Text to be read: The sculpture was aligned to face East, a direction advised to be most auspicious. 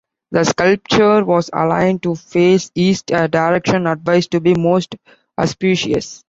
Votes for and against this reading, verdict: 3, 2, accepted